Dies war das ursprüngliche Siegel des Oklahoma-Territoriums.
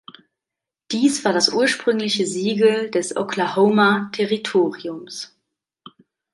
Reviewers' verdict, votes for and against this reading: accepted, 2, 0